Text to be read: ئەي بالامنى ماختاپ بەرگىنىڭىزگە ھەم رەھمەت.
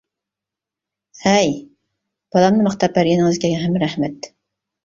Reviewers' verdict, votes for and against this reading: rejected, 0, 2